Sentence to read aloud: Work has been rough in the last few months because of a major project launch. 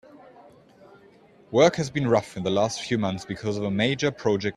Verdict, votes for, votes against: rejected, 0, 2